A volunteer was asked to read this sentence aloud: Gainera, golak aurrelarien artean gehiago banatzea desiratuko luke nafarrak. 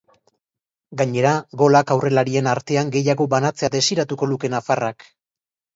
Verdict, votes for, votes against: accepted, 3, 0